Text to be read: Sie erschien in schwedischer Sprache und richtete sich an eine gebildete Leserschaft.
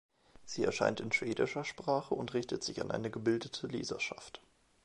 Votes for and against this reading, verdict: 1, 4, rejected